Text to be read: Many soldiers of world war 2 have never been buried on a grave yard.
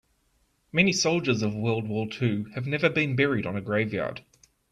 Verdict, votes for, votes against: rejected, 0, 2